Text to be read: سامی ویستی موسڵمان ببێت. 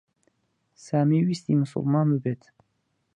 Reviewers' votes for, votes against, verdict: 4, 0, accepted